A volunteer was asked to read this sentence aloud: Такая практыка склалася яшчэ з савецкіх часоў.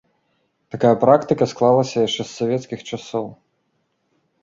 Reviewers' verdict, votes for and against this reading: accepted, 2, 0